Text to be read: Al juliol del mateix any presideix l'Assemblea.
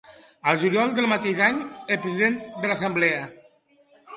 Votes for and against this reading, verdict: 1, 3, rejected